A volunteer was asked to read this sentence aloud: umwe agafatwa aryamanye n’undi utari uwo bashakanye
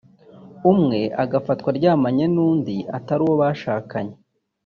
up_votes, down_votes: 1, 2